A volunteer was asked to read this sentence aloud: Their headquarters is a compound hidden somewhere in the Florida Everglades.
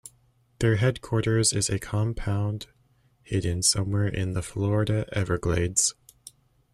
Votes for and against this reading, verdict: 2, 0, accepted